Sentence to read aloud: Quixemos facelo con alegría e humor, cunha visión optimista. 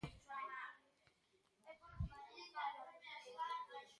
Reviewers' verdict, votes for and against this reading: rejected, 0, 2